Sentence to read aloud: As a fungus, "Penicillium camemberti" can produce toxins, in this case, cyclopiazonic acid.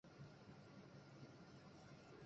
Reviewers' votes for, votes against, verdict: 0, 2, rejected